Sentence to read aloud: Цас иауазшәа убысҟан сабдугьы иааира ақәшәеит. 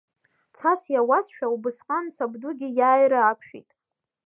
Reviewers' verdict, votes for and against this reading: rejected, 0, 2